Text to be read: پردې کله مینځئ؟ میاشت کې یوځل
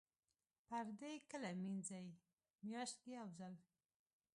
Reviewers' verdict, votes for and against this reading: accepted, 2, 1